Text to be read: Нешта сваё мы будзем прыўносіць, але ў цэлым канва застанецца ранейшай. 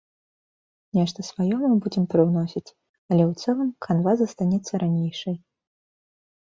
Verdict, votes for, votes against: accepted, 2, 0